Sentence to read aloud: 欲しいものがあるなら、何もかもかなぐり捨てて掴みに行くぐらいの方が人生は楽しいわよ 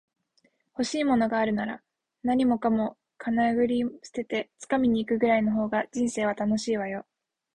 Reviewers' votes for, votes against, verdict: 3, 1, accepted